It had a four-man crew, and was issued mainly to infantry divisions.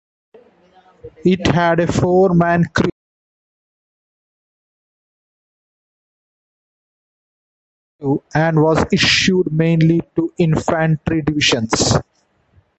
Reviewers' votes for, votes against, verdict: 1, 2, rejected